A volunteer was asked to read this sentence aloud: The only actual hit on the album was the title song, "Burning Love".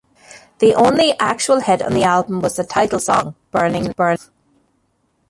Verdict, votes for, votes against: rejected, 1, 2